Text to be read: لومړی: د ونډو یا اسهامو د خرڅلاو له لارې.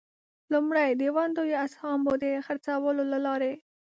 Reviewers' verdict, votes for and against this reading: rejected, 0, 2